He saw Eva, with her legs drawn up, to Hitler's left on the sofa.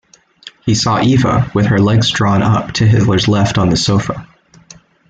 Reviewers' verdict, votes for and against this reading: accepted, 2, 0